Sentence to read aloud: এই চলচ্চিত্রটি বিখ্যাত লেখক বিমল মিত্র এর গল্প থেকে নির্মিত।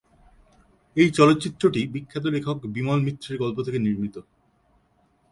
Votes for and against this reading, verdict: 2, 0, accepted